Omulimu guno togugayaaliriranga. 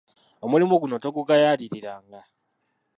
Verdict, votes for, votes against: rejected, 0, 2